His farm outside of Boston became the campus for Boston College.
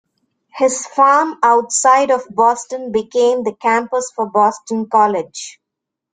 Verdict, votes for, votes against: accepted, 2, 0